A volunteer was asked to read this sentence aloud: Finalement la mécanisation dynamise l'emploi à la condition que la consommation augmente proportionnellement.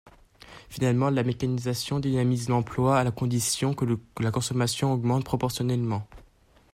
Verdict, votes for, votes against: rejected, 1, 2